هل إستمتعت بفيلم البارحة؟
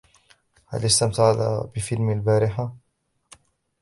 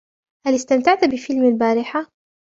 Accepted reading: second